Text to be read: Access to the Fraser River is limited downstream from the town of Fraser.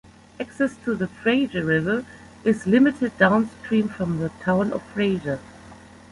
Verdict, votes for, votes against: rejected, 0, 2